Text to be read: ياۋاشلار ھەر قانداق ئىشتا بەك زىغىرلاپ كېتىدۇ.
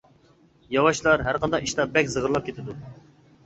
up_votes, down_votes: 2, 0